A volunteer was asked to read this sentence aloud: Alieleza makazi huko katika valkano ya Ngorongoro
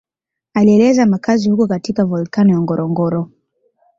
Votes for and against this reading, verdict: 2, 0, accepted